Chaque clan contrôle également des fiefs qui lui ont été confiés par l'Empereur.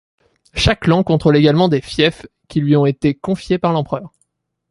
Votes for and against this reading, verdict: 2, 0, accepted